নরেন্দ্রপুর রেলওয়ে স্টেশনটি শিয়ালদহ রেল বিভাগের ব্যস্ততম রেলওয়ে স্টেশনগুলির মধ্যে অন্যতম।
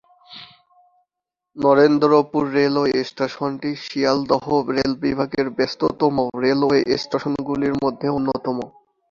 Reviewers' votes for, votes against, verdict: 5, 2, accepted